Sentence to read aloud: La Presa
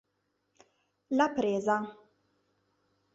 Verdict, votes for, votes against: accepted, 2, 0